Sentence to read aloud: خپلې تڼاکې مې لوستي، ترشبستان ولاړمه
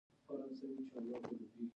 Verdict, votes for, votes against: accepted, 2, 0